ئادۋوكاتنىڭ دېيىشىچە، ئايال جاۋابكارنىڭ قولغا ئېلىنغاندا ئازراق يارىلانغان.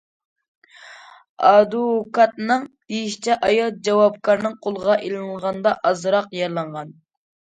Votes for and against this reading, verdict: 2, 0, accepted